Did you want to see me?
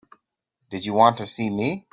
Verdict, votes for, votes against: accepted, 2, 0